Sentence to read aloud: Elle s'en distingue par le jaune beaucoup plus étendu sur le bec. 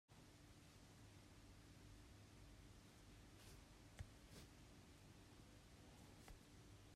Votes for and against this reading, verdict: 0, 2, rejected